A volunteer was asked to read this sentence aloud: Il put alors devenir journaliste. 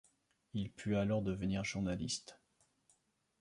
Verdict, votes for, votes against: accepted, 2, 0